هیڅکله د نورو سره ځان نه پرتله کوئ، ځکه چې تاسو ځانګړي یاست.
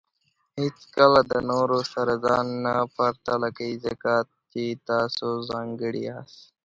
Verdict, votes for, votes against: rejected, 1, 2